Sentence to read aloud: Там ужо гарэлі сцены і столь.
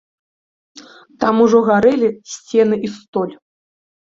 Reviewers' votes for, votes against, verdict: 2, 0, accepted